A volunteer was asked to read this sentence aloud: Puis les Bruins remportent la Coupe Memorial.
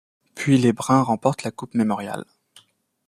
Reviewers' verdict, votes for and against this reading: accepted, 2, 1